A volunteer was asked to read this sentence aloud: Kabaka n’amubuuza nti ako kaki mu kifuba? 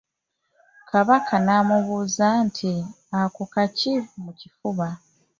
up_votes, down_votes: 3, 0